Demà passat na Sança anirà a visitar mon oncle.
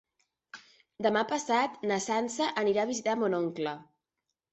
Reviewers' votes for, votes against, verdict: 3, 0, accepted